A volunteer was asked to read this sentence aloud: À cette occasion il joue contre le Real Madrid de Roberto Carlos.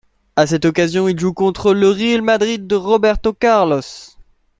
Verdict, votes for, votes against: accepted, 2, 0